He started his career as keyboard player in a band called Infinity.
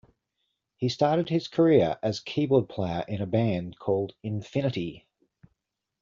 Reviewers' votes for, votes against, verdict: 2, 0, accepted